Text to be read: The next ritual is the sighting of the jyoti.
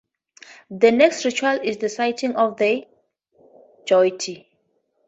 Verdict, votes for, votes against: accepted, 2, 0